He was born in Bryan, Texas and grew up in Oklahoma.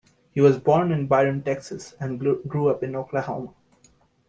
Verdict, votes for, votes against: rejected, 1, 2